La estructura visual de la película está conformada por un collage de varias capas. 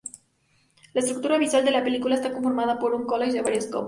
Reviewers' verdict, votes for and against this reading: rejected, 0, 2